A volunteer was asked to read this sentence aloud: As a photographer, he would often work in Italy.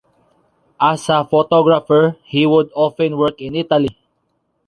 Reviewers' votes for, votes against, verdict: 0, 2, rejected